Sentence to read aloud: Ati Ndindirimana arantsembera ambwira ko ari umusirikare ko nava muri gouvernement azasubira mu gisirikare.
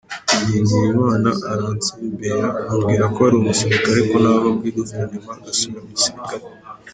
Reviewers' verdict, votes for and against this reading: rejected, 0, 2